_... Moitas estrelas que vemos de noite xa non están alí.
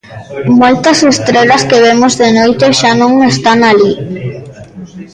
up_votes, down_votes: 2, 0